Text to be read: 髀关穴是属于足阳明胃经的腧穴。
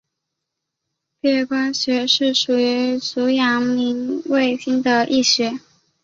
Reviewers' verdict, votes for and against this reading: accepted, 3, 2